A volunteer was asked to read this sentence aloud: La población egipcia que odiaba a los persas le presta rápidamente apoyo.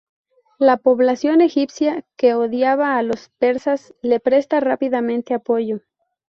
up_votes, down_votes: 2, 0